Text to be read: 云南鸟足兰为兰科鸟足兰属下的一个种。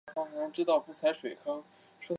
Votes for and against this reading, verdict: 0, 4, rejected